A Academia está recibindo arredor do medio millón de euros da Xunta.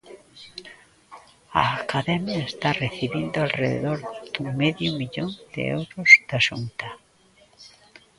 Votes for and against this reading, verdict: 1, 2, rejected